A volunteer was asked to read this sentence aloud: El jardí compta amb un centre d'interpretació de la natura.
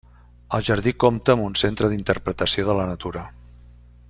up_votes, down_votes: 3, 0